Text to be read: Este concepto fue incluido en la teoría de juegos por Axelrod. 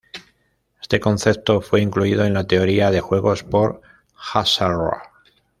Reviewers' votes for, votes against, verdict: 1, 2, rejected